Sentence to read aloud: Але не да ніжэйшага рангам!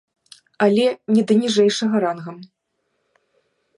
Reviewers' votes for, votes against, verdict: 2, 0, accepted